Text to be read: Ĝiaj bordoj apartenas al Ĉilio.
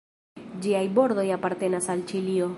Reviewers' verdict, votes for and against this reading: accepted, 2, 1